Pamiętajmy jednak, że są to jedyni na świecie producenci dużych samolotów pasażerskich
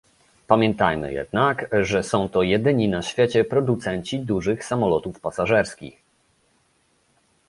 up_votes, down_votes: 2, 0